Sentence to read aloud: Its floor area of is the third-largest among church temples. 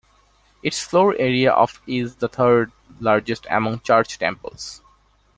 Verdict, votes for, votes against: rejected, 1, 2